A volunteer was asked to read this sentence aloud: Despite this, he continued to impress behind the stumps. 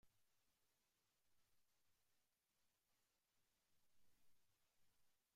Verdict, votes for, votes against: rejected, 1, 2